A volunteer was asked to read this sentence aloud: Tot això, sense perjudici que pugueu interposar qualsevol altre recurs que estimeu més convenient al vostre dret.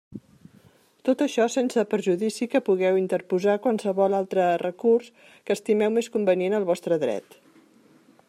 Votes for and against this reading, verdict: 2, 0, accepted